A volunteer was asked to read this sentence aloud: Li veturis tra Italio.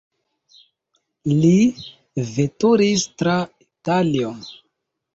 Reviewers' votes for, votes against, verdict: 0, 2, rejected